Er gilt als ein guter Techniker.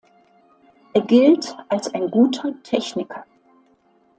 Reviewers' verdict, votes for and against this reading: accepted, 2, 0